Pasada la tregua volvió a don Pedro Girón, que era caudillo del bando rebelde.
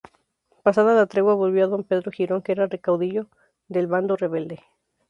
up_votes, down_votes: 0, 2